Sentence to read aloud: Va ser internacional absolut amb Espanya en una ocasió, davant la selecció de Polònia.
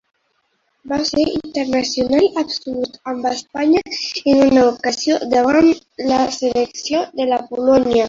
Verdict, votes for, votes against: rejected, 0, 3